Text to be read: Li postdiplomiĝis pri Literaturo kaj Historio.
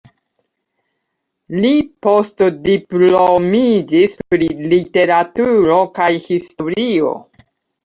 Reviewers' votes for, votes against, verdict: 0, 2, rejected